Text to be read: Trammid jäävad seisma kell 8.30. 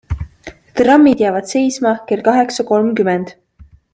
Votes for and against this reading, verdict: 0, 2, rejected